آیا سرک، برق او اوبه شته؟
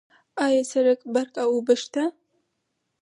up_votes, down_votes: 2, 4